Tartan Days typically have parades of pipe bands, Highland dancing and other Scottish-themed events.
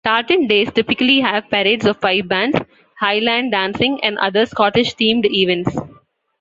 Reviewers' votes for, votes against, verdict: 2, 0, accepted